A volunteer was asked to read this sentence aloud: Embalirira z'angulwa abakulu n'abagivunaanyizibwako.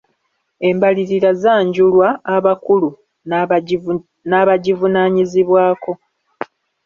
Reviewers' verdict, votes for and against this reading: rejected, 0, 2